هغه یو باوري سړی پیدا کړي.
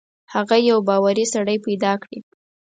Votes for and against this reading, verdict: 4, 0, accepted